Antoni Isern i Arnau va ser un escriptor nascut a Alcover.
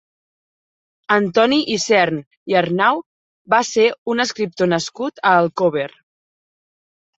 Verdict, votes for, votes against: accepted, 3, 1